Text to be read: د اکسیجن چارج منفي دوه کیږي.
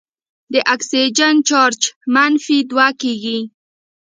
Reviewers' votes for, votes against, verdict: 1, 2, rejected